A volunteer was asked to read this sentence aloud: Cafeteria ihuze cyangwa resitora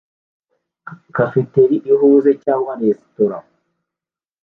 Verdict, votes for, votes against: accepted, 2, 0